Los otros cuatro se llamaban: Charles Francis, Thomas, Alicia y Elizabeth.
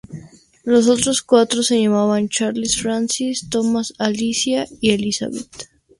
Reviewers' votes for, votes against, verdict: 2, 0, accepted